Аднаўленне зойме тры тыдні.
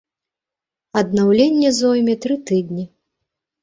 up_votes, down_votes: 2, 0